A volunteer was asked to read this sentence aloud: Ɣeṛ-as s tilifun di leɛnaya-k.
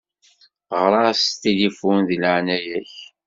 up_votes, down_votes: 2, 0